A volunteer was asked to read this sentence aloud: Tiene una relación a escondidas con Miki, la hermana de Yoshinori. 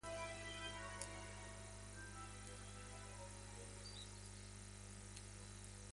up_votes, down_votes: 0, 2